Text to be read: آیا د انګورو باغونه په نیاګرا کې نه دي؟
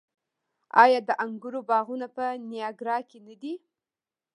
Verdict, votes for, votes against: accepted, 2, 0